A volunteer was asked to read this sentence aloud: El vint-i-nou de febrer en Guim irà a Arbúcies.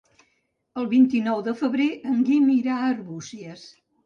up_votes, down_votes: 3, 0